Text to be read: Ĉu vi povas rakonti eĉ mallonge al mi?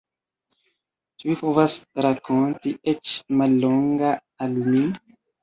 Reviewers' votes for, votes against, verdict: 1, 2, rejected